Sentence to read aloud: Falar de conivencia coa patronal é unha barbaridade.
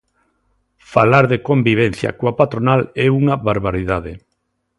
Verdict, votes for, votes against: rejected, 0, 2